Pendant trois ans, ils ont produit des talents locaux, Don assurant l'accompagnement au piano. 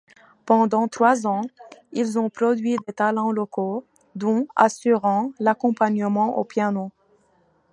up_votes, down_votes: 2, 1